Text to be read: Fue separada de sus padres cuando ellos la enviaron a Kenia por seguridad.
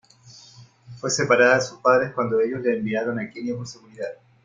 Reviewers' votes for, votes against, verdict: 2, 0, accepted